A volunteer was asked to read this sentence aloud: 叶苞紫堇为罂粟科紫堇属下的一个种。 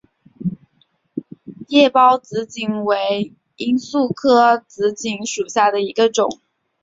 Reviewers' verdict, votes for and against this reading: accepted, 2, 0